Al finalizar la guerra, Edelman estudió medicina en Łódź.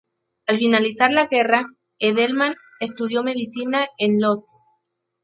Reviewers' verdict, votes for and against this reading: accepted, 4, 0